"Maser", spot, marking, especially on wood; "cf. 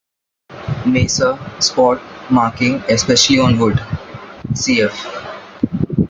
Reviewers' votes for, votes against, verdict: 2, 1, accepted